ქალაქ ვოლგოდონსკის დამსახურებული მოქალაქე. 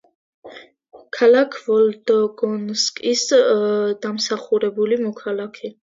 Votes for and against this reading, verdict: 1, 2, rejected